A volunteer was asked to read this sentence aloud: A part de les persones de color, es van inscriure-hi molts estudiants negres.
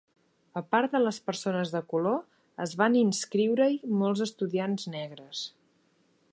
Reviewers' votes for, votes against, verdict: 4, 0, accepted